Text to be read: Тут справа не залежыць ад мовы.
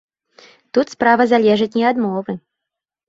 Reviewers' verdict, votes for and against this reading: rejected, 0, 2